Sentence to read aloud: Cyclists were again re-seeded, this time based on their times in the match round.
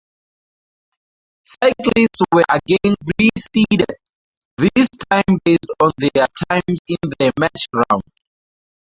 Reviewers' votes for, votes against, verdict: 0, 2, rejected